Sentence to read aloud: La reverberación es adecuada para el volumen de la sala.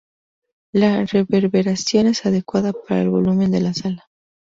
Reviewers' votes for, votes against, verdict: 2, 0, accepted